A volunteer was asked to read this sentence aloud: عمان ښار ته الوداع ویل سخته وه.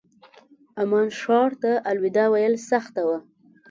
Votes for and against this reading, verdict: 2, 0, accepted